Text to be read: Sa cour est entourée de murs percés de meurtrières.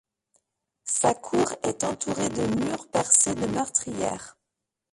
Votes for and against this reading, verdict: 0, 2, rejected